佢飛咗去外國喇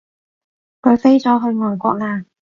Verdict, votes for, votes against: accepted, 2, 0